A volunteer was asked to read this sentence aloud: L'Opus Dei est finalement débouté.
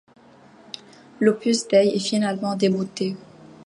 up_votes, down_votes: 1, 2